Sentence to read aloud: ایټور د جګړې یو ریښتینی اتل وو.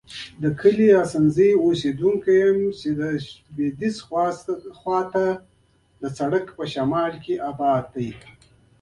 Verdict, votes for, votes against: rejected, 1, 2